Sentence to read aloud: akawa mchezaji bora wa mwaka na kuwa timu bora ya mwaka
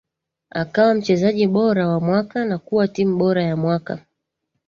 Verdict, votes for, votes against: accepted, 2, 0